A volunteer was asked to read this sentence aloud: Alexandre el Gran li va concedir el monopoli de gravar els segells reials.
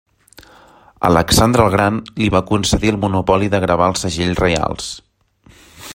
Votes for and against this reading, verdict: 2, 0, accepted